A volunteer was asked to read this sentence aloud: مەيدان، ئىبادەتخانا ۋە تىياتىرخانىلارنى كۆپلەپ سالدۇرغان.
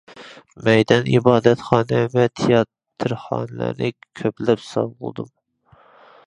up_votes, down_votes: 0, 2